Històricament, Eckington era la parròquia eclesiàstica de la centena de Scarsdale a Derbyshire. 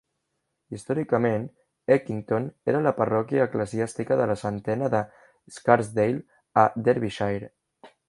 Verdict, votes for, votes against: accepted, 2, 0